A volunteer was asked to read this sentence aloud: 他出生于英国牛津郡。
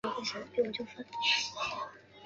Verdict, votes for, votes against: rejected, 0, 2